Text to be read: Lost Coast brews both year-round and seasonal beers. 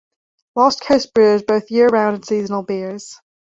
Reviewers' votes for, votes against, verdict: 2, 1, accepted